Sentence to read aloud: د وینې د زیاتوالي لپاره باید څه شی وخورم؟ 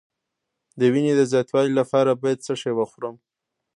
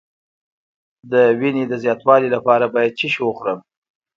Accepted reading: second